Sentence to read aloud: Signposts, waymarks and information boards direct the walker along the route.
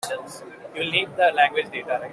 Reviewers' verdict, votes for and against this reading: rejected, 1, 2